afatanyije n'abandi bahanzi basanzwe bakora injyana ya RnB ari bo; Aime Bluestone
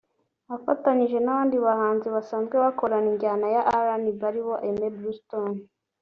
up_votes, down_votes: 2, 0